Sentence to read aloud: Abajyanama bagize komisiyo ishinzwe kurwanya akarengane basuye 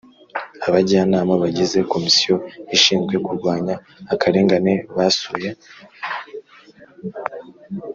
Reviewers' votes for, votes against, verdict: 1, 2, rejected